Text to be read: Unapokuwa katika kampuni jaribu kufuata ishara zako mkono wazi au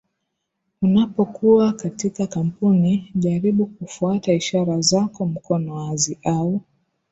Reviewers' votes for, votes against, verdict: 15, 0, accepted